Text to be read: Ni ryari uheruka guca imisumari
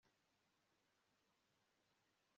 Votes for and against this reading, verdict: 1, 2, rejected